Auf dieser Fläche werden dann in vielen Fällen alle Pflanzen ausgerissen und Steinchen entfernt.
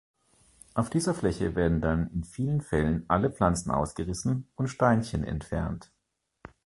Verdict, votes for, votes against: accepted, 2, 0